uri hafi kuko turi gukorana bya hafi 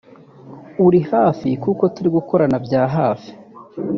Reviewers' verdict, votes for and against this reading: rejected, 0, 2